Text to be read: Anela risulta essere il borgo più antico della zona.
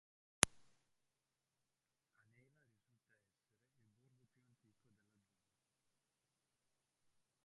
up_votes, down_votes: 0, 2